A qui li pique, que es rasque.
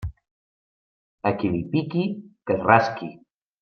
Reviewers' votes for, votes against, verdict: 0, 2, rejected